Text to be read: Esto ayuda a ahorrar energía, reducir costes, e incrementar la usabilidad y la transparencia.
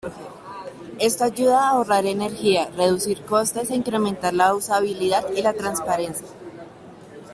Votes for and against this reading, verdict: 2, 0, accepted